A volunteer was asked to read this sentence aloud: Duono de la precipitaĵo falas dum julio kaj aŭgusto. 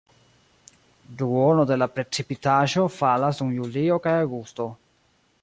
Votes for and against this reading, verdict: 0, 2, rejected